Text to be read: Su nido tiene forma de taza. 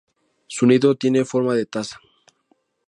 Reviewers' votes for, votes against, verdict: 0, 2, rejected